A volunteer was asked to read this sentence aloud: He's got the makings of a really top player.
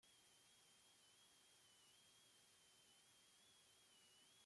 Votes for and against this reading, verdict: 0, 2, rejected